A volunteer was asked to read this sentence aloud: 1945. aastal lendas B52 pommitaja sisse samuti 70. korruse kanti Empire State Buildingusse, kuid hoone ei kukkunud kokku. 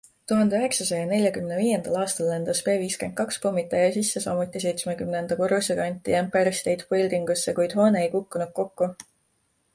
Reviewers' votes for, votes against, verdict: 0, 2, rejected